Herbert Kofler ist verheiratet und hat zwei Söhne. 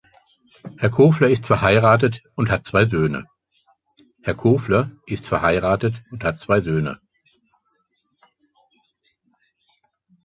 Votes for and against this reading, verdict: 0, 2, rejected